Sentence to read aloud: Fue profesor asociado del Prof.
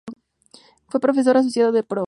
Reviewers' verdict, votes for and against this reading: rejected, 0, 2